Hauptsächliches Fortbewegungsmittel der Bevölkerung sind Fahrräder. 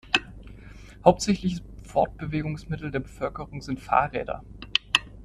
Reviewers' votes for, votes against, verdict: 1, 2, rejected